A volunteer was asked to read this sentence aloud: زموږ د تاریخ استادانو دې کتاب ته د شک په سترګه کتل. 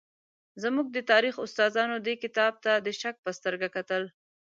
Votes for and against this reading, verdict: 2, 0, accepted